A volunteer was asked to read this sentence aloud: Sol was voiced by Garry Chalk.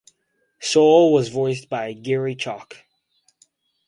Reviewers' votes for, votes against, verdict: 4, 0, accepted